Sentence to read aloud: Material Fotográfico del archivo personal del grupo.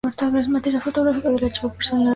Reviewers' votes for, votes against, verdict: 0, 2, rejected